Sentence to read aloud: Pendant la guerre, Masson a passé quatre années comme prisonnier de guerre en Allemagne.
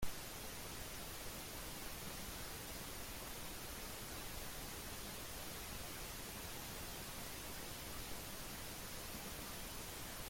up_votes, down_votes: 0, 2